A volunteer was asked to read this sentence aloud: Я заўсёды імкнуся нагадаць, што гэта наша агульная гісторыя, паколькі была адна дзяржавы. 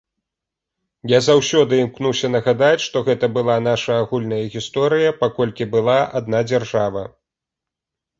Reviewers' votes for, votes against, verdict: 0, 2, rejected